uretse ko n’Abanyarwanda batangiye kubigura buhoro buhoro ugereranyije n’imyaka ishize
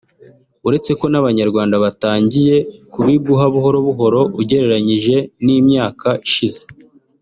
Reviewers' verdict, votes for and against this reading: accepted, 4, 2